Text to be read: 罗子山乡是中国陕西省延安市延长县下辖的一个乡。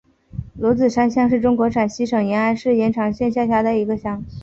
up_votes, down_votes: 11, 0